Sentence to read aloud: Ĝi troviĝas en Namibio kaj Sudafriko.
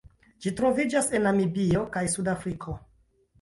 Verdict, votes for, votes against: accepted, 2, 0